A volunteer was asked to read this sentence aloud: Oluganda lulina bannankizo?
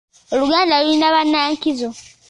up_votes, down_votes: 2, 0